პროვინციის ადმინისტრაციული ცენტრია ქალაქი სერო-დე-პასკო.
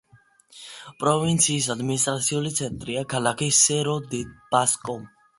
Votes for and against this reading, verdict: 2, 0, accepted